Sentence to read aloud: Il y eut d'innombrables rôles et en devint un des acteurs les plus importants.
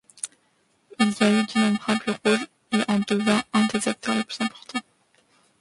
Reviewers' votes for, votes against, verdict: 0, 2, rejected